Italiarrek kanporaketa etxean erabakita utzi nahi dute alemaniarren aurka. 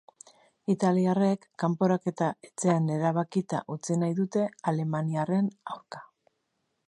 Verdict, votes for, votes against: accepted, 2, 1